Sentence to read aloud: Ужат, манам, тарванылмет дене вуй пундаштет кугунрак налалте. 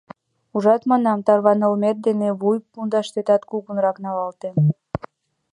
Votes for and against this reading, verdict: 1, 2, rejected